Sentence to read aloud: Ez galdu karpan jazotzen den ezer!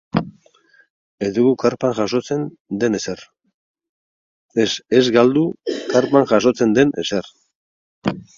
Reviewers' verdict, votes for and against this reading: rejected, 0, 4